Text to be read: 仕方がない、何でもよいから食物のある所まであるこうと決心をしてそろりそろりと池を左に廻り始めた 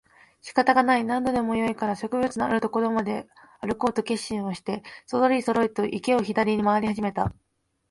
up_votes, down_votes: 2, 0